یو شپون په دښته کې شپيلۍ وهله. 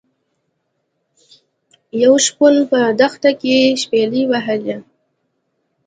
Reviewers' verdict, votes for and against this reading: accepted, 2, 0